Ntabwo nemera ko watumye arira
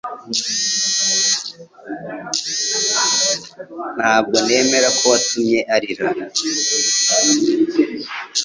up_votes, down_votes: 1, 2